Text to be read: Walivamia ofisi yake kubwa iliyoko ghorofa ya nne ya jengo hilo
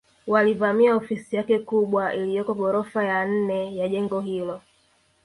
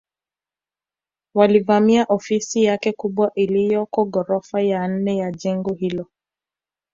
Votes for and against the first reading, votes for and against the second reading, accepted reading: 2, 1, 1, 2, first